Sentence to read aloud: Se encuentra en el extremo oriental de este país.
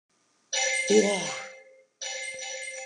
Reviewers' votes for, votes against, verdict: 0, 2, rejected